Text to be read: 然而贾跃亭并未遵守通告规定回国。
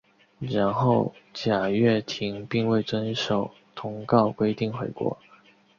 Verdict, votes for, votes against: accepted, 2, 0